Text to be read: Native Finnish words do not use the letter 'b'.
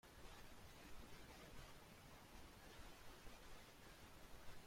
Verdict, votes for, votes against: rejected, 0, 2